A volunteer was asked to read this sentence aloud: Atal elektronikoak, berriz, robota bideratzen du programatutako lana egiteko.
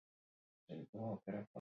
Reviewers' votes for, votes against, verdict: 0, 4, rejected